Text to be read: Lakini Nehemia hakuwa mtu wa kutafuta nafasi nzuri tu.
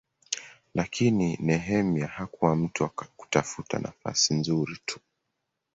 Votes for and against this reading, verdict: 12, 1, accepted